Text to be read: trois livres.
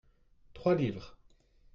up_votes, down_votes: 2, 0